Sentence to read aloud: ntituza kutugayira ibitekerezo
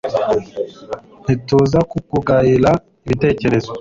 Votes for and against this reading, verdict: 2, 0, accepted